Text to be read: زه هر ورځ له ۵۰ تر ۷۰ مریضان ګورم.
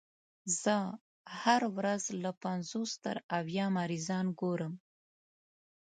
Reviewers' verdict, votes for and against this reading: rejected, 0, 2